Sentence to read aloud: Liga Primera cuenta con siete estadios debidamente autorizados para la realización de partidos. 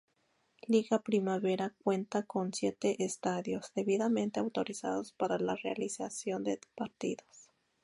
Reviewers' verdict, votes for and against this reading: rejected, 0, 2